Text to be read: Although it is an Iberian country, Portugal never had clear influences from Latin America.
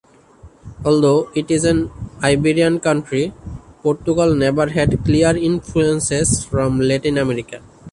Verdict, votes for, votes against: accepted, 2, 0